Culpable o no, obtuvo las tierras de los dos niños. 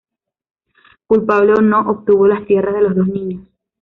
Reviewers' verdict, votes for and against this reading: accepted, 2, 1